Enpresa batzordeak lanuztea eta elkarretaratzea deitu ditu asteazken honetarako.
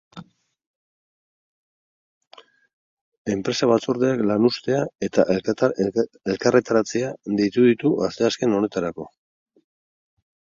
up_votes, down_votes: 2, 4